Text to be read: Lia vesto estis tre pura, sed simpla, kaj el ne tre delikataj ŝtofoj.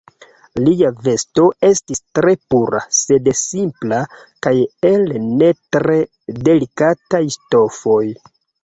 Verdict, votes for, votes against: rejected, 1, 2